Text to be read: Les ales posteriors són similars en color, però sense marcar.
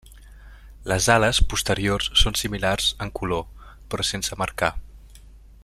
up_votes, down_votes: 3, 1